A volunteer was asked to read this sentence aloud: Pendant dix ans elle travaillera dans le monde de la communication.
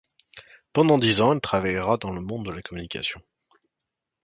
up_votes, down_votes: 1, 2